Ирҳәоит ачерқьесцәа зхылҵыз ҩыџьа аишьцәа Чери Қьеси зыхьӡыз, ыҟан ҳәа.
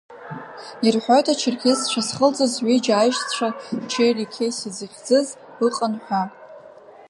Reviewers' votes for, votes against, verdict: 2, 0, accepted